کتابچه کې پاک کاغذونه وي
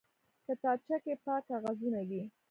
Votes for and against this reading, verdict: 1, 2, rejected